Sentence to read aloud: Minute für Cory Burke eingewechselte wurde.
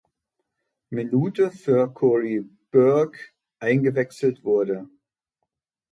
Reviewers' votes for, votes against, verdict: 1, 2, rejected